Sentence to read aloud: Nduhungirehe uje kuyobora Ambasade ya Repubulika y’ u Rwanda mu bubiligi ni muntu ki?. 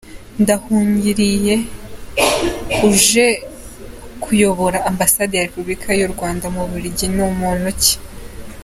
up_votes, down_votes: 0, 2